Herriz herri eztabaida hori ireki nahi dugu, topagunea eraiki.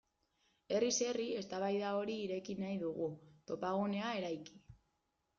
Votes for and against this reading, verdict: 2, 0, accepted